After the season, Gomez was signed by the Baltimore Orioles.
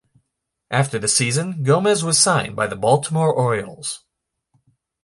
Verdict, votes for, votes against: accepted, 2, 0